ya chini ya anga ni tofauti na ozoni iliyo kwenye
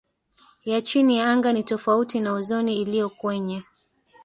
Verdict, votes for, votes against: accepted, 2, 1